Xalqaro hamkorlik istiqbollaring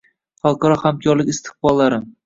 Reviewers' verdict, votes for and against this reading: rejected, 1, 2